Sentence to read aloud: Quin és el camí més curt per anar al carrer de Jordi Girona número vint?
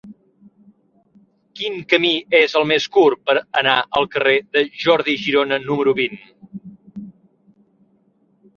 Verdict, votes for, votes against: rejected, 1, 2